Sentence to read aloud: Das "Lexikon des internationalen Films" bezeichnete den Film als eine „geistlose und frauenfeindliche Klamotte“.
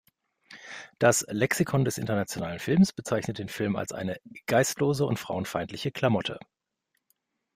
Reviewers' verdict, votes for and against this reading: rejected, 1, 2